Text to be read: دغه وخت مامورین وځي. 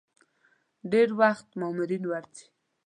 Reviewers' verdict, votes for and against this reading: rejected, 1, 2